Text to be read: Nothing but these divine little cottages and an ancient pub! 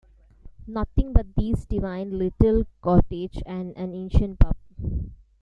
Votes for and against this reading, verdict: 1, 2, rejected